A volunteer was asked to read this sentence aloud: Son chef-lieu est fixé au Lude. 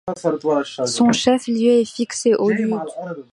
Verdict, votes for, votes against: rejected, 1, 2